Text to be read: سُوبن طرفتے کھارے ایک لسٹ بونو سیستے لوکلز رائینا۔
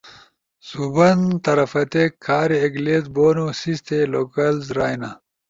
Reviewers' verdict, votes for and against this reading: accepted, 2, 0